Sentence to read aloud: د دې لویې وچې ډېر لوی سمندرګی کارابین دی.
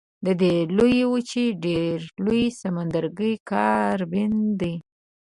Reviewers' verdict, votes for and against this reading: rejected, 1, 2